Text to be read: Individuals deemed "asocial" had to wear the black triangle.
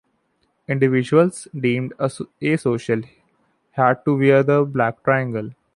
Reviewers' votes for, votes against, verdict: 1, 2, rejected